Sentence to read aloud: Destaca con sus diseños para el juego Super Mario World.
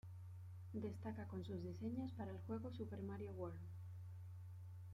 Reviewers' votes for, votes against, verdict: 2, 0, accepted